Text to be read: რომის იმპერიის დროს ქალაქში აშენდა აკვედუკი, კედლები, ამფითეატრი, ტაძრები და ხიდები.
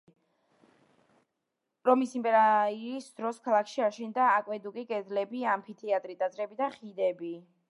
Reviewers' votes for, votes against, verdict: 1, 2, rejected